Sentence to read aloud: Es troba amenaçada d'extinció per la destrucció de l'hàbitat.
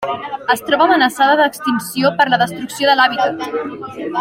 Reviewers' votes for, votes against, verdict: 2, 1, accepted